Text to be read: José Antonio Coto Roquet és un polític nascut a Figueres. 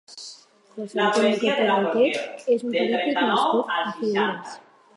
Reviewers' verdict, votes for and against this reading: rejected, 0, 4